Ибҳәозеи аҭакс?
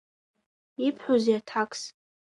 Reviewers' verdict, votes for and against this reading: accepted, 2, 1